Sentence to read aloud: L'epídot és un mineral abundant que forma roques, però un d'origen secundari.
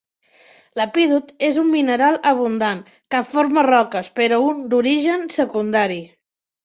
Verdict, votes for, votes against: accepted, 3, 0